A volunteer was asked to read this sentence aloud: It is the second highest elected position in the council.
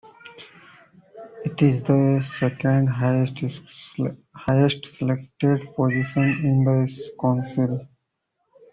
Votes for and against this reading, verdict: 0, 2, rejected